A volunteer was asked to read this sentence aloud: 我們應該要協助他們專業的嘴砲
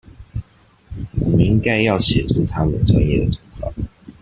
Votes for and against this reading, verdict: 0, 2, rejected